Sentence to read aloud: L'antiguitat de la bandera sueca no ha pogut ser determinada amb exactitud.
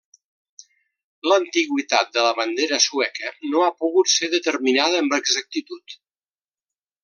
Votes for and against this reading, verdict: 1, 2, rejected